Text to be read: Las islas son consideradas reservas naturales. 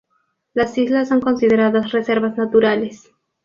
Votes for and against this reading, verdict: 2, 0, accepted